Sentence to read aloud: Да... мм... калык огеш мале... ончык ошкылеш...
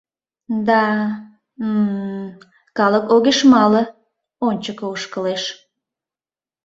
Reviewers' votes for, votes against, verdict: 1, 2, rejected